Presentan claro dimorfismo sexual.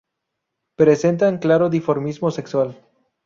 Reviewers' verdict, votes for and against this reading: rejected, 0, 2